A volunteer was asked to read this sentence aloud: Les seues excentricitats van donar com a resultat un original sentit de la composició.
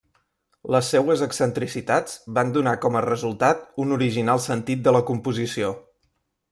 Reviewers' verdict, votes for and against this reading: accepted, 2, 0